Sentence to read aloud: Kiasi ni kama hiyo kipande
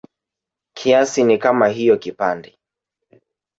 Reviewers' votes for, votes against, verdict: 2, 1, accepted